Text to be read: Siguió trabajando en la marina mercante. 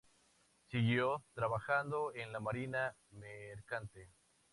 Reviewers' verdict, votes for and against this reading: accepted, 2, 0